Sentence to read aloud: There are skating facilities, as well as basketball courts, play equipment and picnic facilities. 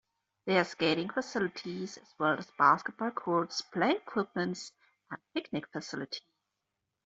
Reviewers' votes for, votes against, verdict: 1, 2, rejected